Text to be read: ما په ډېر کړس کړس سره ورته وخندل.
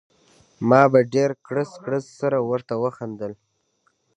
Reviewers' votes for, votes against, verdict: 2, 1, accepted